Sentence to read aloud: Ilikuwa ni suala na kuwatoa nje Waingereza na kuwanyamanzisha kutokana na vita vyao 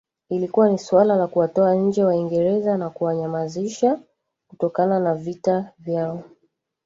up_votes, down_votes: 1, 2